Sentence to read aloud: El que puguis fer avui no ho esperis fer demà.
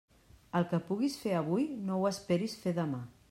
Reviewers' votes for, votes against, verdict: 3, 0, accepted